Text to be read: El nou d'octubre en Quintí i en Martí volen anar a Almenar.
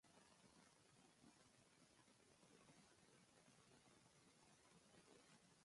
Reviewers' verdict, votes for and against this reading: rejected, 0, 2